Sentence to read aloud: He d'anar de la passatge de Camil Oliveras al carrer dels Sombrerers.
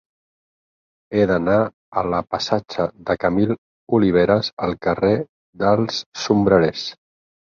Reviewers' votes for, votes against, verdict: 0, 4, rejected